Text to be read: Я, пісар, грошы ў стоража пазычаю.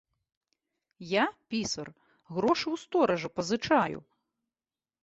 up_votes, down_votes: 2, 0